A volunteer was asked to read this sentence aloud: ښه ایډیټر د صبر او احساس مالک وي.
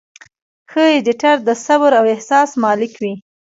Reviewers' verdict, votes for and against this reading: accepted, 2, 0